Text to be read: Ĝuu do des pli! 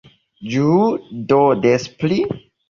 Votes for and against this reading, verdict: 2, 1, accepted